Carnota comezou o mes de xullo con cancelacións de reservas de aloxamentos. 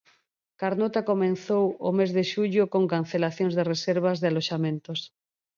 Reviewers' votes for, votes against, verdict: 2, 4, rejected